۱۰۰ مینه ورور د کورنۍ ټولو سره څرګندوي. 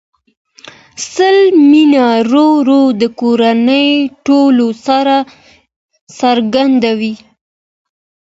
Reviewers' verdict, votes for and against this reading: rejected, 0, 2